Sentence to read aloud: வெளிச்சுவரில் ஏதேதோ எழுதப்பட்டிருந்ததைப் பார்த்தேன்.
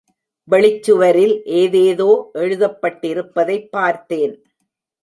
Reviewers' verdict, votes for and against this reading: rejected, 0, 2